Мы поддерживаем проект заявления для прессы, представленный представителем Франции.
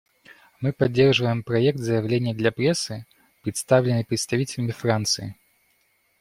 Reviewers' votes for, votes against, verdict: 2, 0, accepted